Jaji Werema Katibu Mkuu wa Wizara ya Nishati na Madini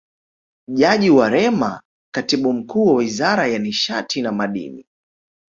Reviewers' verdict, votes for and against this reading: accepted, 2, 0